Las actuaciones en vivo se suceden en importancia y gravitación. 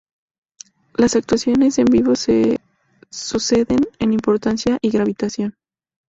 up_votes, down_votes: 2, 2